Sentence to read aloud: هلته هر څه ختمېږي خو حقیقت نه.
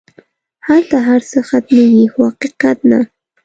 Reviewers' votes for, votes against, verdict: 2, 0, accepted